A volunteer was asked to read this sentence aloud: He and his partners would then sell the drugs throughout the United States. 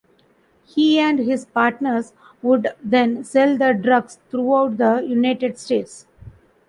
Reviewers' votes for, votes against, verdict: 2, 0, accepted